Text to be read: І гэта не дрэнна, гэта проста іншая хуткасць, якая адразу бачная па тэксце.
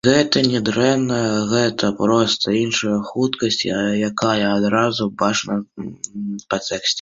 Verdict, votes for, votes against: rejected, 0, 2